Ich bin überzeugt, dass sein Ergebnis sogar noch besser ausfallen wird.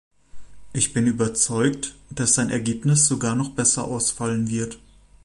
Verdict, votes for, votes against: accepted, 2, 0